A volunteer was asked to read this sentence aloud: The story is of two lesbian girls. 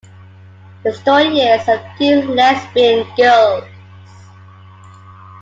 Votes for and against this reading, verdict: 1, 2, rejected